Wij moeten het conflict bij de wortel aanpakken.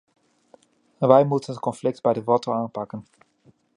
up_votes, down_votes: 2, 1